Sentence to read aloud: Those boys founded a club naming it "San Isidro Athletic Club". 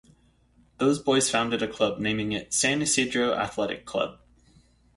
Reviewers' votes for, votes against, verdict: 2, 0, accepted